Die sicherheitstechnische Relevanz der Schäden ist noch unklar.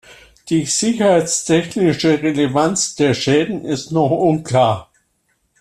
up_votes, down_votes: 2, 0